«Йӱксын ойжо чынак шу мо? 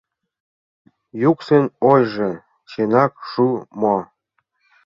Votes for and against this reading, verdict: 1, 2, rejected